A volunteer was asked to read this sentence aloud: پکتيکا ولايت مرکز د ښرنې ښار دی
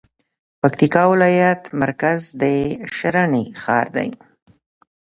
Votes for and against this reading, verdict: 2, 0, accepted